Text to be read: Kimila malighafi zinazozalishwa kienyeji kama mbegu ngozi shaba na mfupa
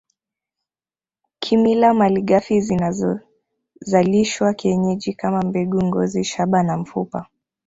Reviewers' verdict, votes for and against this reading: rejected, 1, 2